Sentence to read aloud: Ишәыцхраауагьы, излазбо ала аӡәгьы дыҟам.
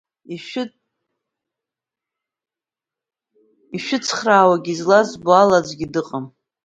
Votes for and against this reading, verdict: 0, 2, rejected